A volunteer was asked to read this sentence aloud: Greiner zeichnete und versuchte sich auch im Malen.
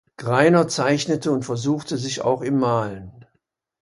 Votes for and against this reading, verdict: 2, 0, accepted